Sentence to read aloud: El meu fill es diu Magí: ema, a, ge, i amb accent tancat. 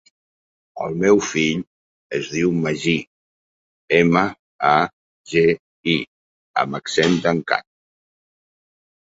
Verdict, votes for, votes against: accepted, 6, 0